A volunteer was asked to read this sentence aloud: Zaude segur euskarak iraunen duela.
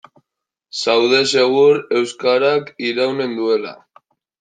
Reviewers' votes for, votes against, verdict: 0, 2, rejected